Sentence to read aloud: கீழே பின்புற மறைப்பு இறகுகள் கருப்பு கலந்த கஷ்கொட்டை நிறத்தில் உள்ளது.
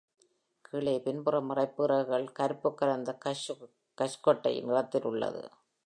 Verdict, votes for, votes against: rejected, 0, 2